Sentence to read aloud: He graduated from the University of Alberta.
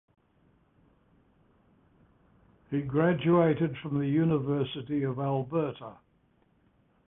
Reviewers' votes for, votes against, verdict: 2, 0, accepted